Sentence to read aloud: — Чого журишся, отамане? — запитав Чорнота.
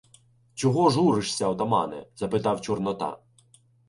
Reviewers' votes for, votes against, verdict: 0, 2, rejected